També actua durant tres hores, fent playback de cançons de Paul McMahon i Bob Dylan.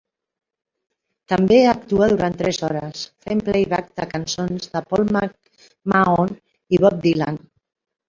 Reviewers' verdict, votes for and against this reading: accepted, 2, 1